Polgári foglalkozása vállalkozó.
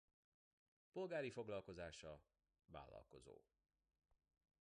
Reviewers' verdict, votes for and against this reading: accepted, 2, 0